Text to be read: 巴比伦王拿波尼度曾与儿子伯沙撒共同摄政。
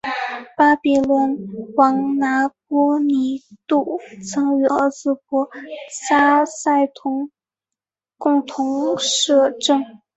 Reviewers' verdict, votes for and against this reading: rejected, 0, 3